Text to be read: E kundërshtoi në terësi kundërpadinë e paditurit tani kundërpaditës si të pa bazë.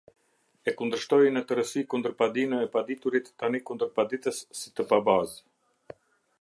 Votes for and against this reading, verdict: 2, 0, accepted